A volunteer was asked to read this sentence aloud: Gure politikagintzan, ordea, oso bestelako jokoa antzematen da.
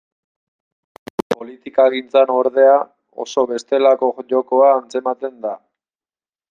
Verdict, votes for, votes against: rejected, 0, 2